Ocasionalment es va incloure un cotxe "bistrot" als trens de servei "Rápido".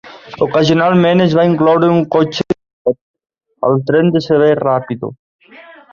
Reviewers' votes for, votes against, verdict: 0, 2, rejected